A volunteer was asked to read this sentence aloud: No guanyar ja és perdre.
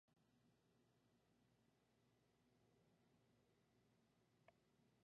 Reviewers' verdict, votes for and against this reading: rejected, 1, 2